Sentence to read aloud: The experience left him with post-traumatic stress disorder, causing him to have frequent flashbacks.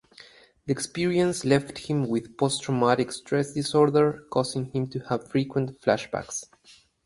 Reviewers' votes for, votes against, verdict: 4, 2, accepted